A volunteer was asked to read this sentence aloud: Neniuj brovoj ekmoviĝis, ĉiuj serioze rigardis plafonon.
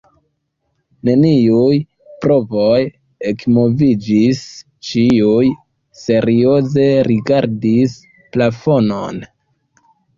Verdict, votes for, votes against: accepted, 2, 0